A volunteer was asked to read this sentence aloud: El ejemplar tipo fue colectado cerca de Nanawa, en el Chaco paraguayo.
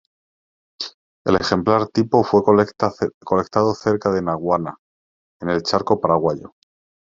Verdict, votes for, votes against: rejected, 0, 2